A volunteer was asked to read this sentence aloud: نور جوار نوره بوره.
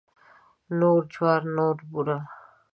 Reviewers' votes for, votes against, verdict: 1, 2, rejected